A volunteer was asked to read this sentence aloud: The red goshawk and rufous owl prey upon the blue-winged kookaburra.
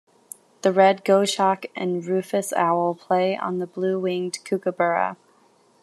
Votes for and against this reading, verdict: 1, 2, rejected